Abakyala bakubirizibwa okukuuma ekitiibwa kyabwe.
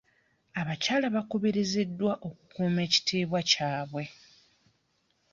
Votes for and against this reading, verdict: 1, 2, rejected